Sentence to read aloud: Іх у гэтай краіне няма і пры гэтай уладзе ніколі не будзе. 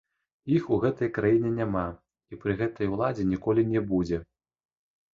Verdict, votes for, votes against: accepted, 2, 0